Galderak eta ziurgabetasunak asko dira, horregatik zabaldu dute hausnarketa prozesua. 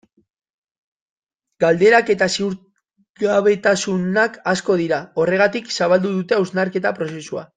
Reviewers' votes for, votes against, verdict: 0, 2, rejected